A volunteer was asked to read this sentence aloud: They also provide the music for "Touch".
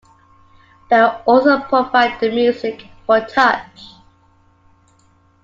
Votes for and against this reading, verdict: 1, 2, rejected